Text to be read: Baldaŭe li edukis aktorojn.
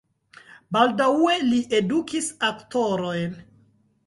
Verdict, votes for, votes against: rejected, 1, 2